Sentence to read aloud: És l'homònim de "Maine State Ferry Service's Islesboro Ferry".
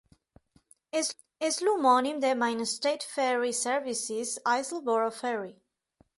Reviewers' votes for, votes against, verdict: 1, 2, rejected